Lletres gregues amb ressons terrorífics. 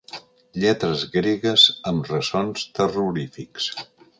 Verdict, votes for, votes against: accepted, 2, 0